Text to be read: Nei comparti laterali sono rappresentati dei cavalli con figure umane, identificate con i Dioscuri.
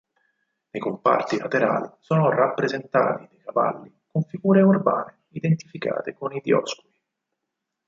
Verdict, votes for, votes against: rejected, 0, 4